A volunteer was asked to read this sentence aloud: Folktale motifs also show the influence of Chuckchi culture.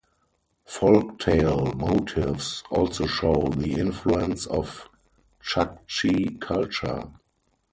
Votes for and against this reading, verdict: 4, 0, accepted